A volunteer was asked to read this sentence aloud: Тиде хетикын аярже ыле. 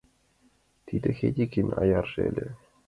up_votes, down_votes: 1, 2